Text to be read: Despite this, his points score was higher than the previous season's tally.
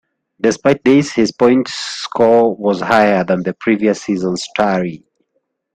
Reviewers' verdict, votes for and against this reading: rejected, 0, 2